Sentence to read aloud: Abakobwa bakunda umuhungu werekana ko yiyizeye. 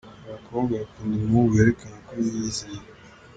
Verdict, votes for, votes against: accepted, 2, 0